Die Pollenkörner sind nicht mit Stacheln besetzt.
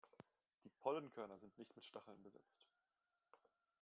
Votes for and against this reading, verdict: 1, 2, rejected